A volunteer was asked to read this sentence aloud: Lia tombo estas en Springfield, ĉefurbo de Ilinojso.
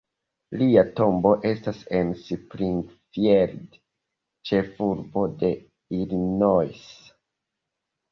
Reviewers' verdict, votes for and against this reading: rejected, 0, 3